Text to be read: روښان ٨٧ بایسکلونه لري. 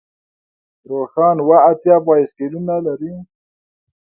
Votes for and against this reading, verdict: 0, 2, rejected